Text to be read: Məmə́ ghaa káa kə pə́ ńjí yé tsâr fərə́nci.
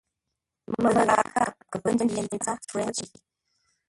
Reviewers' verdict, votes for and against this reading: rejected, 0, 2